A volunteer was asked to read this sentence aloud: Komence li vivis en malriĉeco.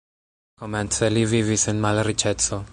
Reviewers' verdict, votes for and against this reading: rejected, 0, 2